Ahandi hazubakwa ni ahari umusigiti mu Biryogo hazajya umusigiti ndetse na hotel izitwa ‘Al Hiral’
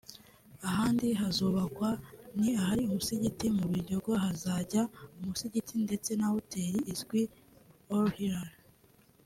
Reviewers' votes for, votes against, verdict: 0, 2, rejected